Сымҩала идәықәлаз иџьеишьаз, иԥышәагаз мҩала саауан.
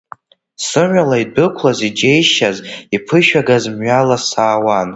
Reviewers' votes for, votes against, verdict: 2, 1, accepted